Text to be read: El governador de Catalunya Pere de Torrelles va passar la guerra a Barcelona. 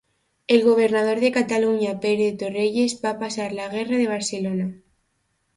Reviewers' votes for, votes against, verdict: 0, 2, rejected